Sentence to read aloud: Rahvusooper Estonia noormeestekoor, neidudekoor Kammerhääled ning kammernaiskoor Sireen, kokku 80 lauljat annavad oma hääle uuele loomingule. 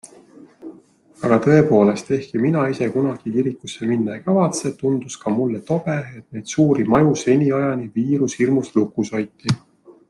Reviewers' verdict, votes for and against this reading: rejected, 0, 2